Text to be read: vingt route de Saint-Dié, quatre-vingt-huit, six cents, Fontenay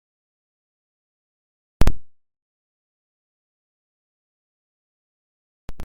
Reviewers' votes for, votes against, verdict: 0, 2, rejected